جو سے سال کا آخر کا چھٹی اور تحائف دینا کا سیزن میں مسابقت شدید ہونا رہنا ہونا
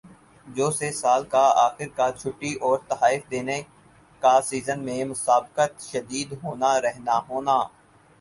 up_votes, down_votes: 4, 0